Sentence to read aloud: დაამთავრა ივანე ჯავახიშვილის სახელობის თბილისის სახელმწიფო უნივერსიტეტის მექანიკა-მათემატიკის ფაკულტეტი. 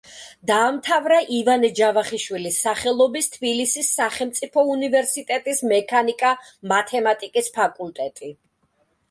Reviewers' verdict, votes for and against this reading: accepted, 2, 0